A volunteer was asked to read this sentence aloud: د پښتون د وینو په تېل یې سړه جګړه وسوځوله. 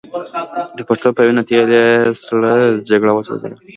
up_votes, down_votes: 2, 0